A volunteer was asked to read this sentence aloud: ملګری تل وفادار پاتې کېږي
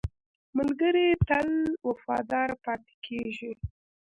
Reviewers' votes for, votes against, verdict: 1, 2, rejected